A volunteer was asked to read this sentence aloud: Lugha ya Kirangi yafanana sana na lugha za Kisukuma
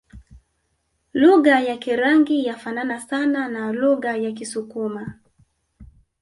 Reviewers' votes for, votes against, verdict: 0, 2, rejected